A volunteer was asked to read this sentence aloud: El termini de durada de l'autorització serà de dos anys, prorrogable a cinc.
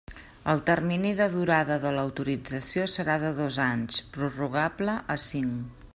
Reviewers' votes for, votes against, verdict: 3, 0, accepted